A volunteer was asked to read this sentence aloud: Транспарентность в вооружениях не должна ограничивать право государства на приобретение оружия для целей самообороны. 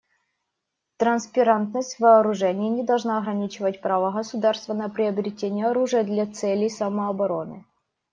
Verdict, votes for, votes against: rejected, 0, 2